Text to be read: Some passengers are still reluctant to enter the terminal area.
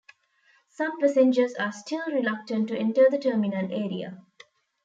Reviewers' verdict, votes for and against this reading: accepted, 3, 0